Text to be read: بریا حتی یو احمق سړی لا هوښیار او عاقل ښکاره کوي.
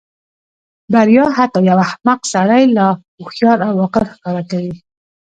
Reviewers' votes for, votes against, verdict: 1, 2, rejected